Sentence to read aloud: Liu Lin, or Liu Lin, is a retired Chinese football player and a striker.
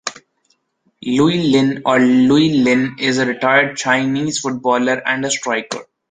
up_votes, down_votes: 1, 2